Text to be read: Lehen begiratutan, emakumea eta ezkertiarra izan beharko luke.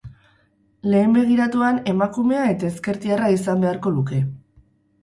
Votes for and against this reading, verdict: 0, 4, rejected